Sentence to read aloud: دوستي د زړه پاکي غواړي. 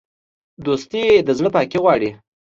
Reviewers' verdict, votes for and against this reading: accepted, 2, 0